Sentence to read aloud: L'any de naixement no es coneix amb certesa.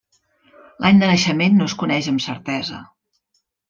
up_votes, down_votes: 2, 0